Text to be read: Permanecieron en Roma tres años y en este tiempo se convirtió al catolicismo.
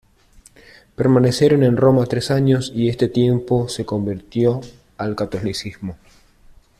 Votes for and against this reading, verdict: 0, 2, rejected